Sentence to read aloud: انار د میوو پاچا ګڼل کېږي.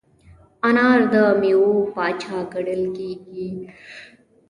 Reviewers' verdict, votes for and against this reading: accepted, 2, 0